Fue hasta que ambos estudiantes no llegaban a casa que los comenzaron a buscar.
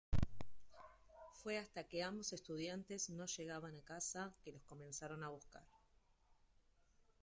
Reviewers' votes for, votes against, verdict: 1, 2, rejected